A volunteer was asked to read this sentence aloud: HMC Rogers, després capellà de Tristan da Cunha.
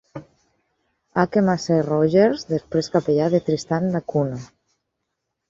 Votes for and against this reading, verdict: 0, 4, rejected